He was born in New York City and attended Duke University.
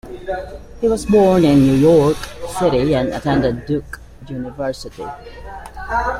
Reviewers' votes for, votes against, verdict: 1, 2, rejected